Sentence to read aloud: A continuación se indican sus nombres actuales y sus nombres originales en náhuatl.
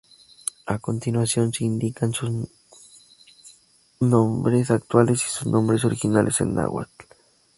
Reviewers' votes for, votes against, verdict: 0, 2, rejected